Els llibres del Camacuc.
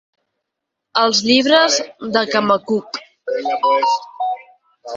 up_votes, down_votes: 0, 4